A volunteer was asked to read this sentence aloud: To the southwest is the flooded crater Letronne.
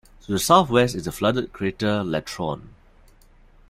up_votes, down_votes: 0, 2